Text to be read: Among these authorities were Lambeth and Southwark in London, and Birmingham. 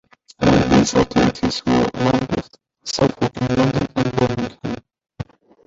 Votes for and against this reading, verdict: 0, 2, rejected